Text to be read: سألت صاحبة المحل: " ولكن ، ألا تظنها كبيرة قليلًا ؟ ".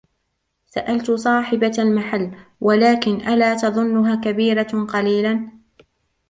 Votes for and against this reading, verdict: 0, 2, rejected